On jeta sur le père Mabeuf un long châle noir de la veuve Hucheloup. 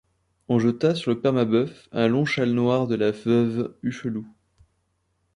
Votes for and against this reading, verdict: 2, 0, accepted